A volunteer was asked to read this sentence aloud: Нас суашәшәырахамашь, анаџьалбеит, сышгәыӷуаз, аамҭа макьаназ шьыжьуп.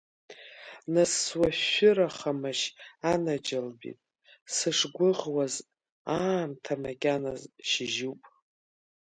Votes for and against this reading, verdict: 0, 2, rejected